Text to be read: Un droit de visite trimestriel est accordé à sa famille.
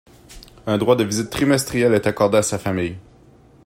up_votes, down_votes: 2, 0